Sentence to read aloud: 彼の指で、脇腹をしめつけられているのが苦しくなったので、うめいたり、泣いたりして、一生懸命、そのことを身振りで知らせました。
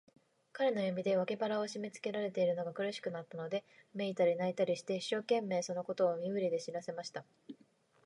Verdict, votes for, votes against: accepted, 3, 0